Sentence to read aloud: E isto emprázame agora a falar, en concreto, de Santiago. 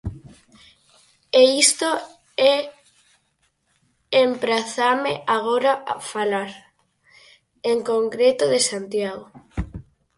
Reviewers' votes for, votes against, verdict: 0, 4, rejected